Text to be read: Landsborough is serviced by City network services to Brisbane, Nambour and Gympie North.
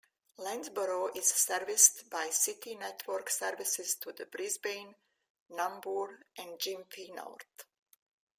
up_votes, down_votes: 2, 1